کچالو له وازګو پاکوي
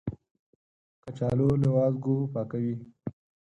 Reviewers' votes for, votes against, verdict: 4, 0, accepted